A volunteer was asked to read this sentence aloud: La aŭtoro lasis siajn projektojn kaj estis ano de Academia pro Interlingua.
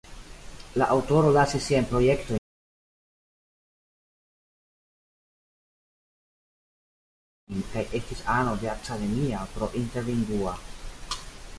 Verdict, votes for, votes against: rejected, 0, 2